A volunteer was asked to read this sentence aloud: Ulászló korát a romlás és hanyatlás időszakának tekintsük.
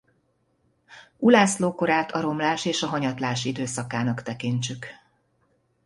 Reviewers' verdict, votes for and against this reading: rejected, 1, 2